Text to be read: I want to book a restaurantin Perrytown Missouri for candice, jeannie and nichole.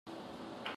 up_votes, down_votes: 0, 2